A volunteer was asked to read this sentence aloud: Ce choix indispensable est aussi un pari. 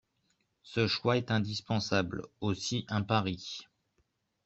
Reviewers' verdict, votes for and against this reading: rejected, 0, 2